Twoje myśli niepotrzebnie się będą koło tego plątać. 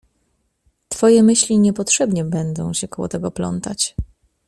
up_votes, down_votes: 0, 2